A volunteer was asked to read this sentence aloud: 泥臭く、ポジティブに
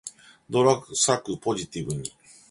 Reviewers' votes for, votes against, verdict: 2, 1, accepted